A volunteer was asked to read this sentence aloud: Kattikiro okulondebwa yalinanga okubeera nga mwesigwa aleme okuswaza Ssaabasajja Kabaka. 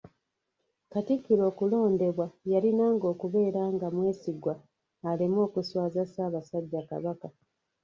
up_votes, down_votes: 1, 2